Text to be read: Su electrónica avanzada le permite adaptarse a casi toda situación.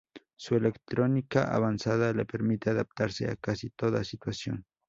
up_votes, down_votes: 4, 0